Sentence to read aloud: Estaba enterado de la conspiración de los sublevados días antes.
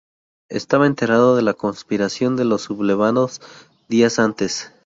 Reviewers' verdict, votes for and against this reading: accepted, 2, 0